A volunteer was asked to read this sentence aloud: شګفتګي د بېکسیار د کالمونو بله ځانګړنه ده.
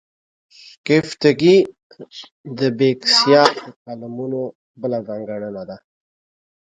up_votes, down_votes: 0, 2